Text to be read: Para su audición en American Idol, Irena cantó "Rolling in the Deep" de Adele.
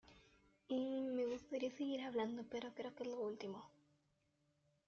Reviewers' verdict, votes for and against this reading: rejected, 0, 2